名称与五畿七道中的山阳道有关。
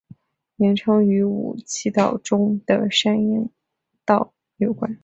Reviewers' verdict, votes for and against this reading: accepted, 5, 2